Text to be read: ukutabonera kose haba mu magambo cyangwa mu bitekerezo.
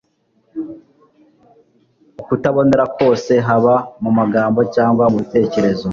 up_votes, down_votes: 2, 0